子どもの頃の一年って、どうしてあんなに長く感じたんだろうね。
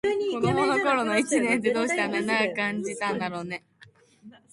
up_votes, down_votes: 0, 3